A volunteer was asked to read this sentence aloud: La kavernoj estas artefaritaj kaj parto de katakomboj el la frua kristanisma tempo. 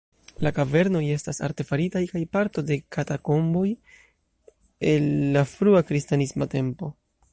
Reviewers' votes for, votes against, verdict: 2, 0, accepted